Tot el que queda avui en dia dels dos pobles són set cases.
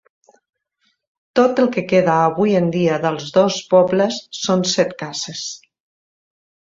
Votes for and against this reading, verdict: 0, 2, rejected